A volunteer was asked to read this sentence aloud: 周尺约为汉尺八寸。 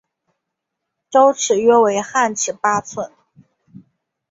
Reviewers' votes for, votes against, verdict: 2, 0, accepted